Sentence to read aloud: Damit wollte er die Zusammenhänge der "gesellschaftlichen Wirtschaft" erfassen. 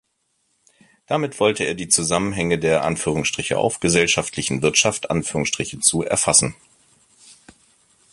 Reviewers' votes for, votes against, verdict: 0, 2, rejected